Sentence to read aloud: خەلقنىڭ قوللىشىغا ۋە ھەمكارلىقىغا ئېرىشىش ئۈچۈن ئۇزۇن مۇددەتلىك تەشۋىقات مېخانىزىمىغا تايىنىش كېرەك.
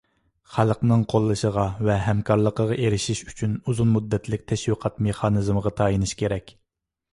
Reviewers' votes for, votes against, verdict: 2, 0, accepted